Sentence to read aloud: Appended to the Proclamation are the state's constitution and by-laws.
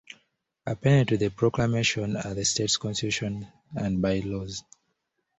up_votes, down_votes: 1, 2